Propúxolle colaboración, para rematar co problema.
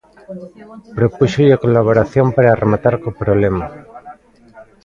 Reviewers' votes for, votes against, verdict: 2, 1, accepted